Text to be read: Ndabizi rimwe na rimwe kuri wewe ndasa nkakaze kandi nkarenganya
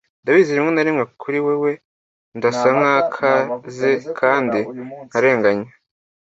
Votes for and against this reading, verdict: 1, 2, rejected